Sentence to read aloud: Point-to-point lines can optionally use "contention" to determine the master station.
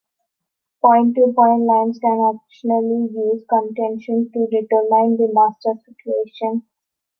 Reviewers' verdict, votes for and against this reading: rejected, 1, 2